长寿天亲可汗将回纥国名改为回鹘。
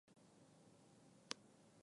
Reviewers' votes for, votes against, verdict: 2, 6, rejected